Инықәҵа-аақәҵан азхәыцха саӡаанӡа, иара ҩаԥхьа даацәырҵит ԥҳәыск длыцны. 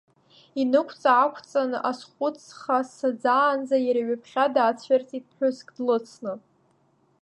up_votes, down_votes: 2, 0